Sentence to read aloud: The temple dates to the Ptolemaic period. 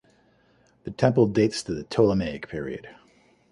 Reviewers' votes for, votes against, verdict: 2, 0, accepted